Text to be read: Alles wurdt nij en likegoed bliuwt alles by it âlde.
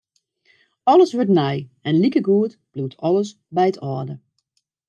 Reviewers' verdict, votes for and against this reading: accepted, 2, 0